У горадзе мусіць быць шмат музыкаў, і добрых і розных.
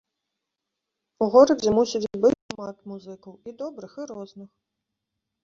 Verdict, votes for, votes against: rejected, 1, 2